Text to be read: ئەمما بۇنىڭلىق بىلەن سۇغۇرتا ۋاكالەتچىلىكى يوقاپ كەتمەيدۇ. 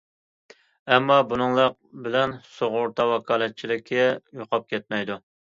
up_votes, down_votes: 2, 0